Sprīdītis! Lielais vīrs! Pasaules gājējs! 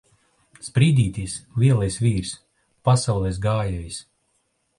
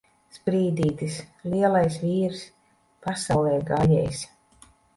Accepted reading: first